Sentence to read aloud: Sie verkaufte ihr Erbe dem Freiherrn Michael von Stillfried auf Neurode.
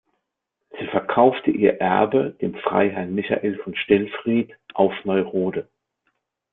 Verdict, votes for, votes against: accepted, 2, 0